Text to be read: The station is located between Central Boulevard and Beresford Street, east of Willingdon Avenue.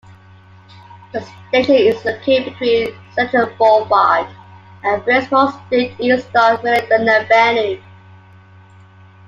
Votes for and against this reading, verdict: 0, 2, rejected